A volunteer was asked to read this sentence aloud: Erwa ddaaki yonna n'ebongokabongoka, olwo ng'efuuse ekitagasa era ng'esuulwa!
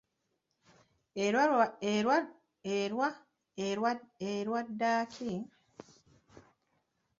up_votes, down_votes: 0, 3